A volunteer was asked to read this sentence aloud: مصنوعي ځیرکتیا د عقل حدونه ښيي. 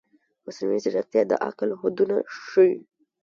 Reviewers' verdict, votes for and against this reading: rejected, 1, 2